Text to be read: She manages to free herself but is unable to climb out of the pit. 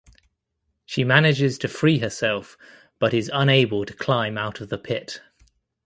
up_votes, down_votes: 2, 0